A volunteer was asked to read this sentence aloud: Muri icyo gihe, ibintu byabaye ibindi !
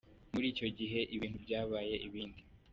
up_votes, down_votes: 2, 0